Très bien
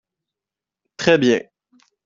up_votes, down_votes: 2, 1